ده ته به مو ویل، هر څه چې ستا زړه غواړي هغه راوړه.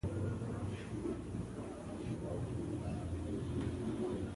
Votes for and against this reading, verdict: 1, 2, rejected